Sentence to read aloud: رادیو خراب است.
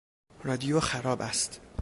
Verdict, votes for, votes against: accepted, 2, 0